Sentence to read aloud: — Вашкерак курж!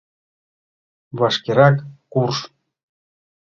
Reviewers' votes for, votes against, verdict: 2, 0, accepted